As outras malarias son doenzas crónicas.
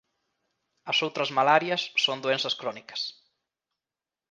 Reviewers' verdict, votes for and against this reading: accepted, 2, 0